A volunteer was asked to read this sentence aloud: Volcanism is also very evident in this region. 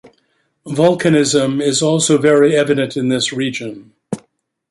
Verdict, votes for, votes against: accepted, 2, 0